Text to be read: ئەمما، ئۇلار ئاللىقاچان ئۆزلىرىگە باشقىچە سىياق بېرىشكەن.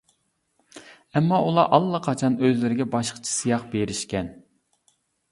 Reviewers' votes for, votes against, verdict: 2, 0, accepted